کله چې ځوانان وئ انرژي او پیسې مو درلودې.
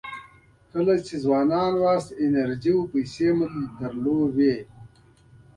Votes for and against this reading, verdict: 2, 0, accepted